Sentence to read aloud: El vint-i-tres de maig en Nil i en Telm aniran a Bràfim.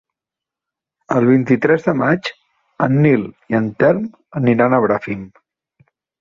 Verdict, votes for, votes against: accepted, 3, 0